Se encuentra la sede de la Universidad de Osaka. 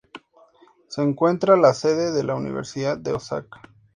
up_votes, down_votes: 2, 0